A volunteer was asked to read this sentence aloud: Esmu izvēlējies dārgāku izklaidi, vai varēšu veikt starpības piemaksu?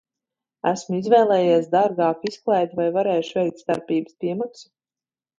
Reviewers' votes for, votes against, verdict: 2, 0, accepted